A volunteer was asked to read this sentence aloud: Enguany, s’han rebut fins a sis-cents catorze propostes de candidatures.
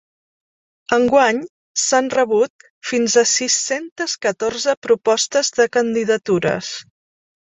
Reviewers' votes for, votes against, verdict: 1, 2, rejected